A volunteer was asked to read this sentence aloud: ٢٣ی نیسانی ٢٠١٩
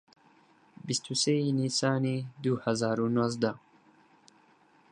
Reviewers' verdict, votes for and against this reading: rejected, 0, 2